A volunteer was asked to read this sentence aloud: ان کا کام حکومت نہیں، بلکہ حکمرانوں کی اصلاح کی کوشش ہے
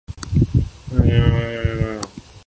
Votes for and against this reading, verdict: 0, 2, rejected